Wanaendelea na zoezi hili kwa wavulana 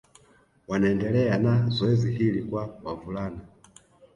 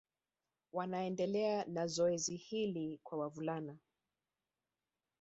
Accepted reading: first